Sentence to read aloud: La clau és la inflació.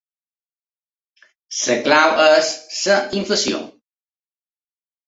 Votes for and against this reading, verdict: 0, 2, rejected